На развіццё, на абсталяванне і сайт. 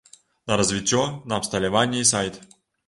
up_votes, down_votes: 2, 0